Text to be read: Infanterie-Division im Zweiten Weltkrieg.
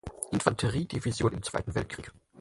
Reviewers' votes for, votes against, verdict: 4, 0, accepted